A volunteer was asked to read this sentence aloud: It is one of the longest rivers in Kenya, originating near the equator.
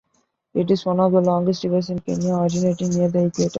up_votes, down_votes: 2, 1